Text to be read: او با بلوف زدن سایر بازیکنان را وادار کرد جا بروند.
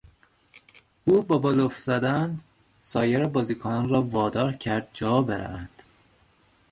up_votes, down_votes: 2, 0